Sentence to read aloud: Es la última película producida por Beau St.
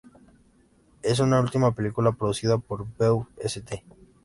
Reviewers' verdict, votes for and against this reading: rejected, 1, 2